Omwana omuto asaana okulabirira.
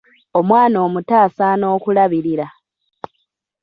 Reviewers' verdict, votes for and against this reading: accepted, 2, 0